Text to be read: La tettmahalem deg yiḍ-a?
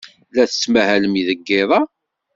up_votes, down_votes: 2, 0